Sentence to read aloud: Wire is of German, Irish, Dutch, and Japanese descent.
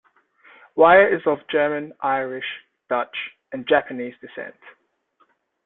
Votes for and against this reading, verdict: 2, 0, accepted